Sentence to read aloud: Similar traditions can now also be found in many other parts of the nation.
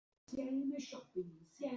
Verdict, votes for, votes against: rejected, 0, 2